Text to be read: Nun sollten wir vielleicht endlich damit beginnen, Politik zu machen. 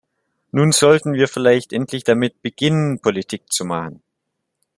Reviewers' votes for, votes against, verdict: 2, 0, accepted